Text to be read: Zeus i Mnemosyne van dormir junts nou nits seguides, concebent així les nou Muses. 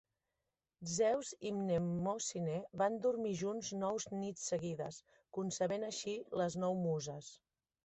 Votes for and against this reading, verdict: 0, 3, rejected